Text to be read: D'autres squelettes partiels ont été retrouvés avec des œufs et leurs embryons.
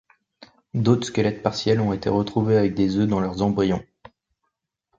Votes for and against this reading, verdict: 1, 2, rejected